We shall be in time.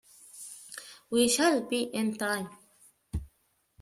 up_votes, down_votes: 2, 0